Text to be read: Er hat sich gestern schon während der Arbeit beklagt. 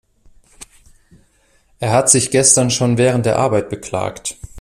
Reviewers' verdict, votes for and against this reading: accepted, 2, 0